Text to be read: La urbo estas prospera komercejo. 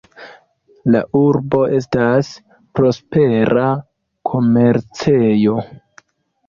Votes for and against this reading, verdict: 2, 0, accepted